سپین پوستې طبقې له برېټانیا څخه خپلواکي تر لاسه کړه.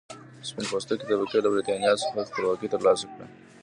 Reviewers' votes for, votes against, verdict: 2, 0, accepted